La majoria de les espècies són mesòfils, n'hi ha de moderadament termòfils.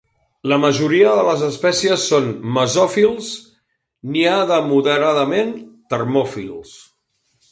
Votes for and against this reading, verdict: 2, 0, accepted